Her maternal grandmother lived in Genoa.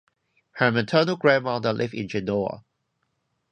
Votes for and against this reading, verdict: 2, 2, rejected